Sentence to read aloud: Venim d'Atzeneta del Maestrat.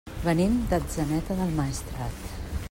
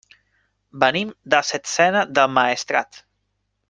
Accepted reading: first